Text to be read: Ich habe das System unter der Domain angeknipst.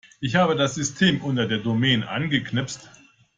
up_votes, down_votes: 2, 0